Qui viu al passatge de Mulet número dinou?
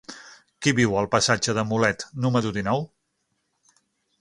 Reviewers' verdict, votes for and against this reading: accepted, 6, 0